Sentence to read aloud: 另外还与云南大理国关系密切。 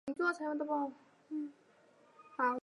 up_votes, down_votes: 0, 2